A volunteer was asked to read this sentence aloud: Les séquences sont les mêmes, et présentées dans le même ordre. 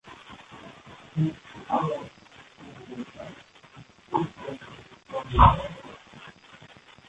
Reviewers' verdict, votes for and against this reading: rejected, 0, 2